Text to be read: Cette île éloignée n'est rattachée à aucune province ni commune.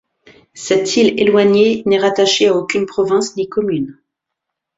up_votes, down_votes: 2, 0